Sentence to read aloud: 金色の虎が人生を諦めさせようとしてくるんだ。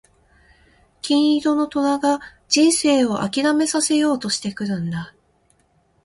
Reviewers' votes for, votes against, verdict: 2, 0, accepted